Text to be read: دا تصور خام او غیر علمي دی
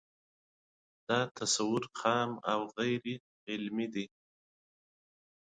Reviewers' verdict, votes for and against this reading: accepted, 2, 0